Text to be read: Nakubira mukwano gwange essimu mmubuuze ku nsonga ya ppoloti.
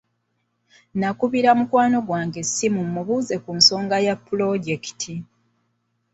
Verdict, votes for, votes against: rejected, 1, 2